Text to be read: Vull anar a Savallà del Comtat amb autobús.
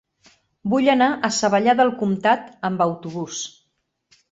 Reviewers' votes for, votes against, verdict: 3, 0, accepted